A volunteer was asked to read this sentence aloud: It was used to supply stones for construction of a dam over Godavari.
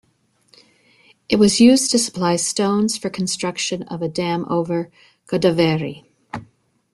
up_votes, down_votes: 2, 0